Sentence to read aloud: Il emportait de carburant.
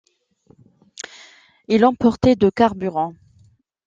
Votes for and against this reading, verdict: 2, 0, accepted